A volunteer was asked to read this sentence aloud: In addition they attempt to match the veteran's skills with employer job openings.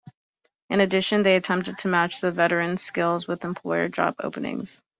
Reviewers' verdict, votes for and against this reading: accepted, 2, 0